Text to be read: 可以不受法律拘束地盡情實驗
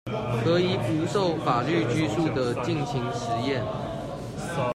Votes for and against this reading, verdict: 1, 2, rejected